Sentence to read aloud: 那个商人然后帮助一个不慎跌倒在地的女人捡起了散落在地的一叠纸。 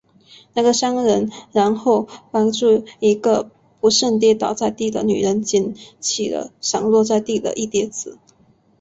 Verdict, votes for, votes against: rejected, 0, 2